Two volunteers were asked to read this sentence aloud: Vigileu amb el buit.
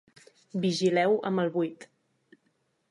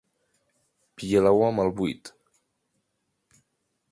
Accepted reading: second